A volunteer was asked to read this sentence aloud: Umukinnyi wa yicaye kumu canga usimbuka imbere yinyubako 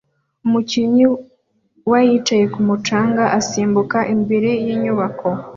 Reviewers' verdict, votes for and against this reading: rejected, 1, 2